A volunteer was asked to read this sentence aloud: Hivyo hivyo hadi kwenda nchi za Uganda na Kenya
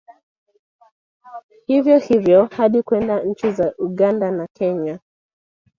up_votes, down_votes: 2, 0